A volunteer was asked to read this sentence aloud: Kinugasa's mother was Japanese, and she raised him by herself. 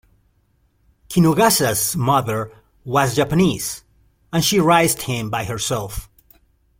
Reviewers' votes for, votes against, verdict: 1, 2, rejected